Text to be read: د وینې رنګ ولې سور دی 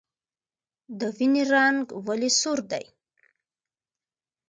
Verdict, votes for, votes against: accepted, 2, 0